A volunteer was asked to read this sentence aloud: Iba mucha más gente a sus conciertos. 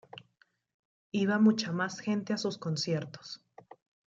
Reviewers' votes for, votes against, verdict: 2, 0, accepted